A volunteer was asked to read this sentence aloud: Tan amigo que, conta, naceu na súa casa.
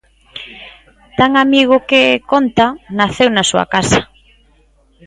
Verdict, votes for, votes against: accepted, 2, 0